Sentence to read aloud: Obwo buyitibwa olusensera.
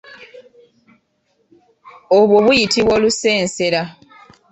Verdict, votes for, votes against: accepted, 2, 0